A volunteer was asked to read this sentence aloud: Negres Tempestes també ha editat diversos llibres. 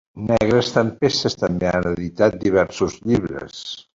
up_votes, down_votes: 2, 1